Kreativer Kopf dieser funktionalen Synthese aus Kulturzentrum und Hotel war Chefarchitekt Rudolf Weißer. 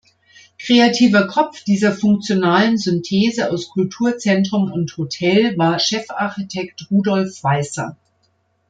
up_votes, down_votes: 2, 1